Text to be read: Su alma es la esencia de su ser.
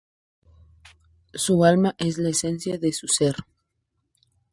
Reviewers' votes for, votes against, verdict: 0, 2, rejected